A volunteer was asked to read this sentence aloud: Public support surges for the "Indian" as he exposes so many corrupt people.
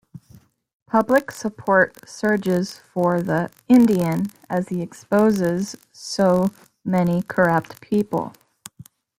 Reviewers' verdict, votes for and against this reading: accepted, 2, 0